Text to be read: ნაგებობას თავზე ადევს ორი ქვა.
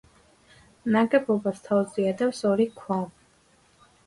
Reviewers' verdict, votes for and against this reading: accepted, 2, 0